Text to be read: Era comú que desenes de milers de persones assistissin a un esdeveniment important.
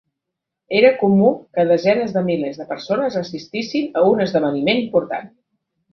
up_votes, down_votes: 2, 0